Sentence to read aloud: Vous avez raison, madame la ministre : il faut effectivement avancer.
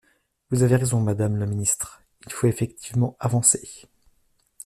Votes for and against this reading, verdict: 2, 0, accepted